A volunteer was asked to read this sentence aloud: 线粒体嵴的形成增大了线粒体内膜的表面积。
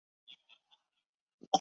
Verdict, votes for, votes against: rejected, 0, 6